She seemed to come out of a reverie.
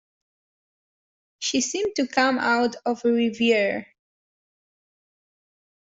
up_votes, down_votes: 1, 2